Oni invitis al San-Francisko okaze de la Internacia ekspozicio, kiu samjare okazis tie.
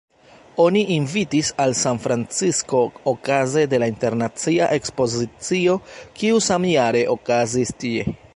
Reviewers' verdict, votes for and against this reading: rejected, 1, 2